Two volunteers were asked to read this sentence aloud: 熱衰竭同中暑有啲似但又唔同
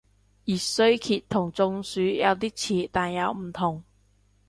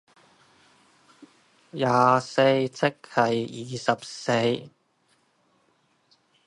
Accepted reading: first